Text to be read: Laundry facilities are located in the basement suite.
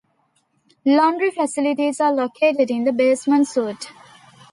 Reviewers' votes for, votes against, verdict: 0, 2, rejected